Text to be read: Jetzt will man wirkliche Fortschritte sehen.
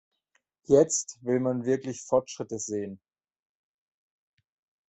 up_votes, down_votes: 3, 0